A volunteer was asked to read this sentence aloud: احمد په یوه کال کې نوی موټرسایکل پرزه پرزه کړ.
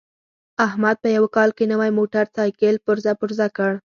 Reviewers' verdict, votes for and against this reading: accepted, 4, 0